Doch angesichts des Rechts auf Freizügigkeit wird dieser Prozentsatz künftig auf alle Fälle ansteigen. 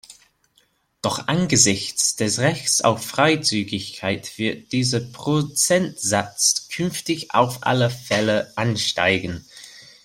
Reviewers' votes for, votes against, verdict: 2, 0, accepted